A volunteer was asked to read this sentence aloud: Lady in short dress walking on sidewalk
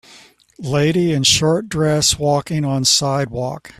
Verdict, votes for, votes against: accepted, 2, 0